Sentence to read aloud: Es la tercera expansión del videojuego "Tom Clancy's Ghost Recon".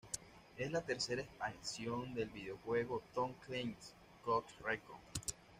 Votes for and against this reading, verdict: 1, 2, rejected